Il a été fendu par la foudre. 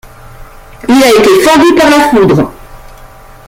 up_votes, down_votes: 2, 1